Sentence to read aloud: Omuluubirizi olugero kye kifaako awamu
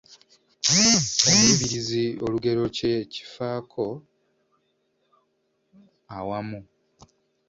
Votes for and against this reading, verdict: 2, 1, accepted